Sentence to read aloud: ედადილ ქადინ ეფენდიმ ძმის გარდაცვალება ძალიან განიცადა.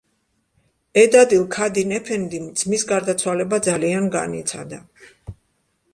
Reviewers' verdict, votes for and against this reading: accepted, 2, 0